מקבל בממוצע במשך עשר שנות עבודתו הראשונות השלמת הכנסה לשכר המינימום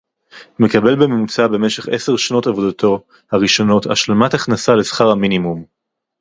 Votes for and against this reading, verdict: 2, 2, rejected